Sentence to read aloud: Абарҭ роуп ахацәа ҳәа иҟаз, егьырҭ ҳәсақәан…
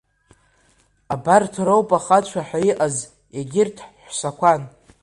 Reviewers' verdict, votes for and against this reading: accepted, 2, 1